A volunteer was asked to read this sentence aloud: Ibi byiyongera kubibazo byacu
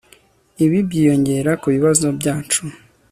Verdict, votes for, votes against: accepted, 2, 0